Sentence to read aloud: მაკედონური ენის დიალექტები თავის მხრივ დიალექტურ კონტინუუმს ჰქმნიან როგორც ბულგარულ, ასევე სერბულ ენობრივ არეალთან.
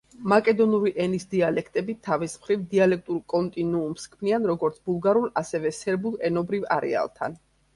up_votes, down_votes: 3, 0